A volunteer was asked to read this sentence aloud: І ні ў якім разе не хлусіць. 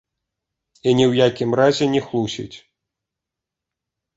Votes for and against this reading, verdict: 2, 0, accepted